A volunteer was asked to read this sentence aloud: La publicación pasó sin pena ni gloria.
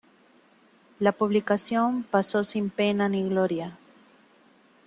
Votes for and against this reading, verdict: 2, 1, accepted